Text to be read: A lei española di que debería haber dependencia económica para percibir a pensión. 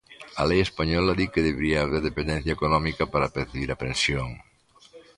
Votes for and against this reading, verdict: 2, 0, accepted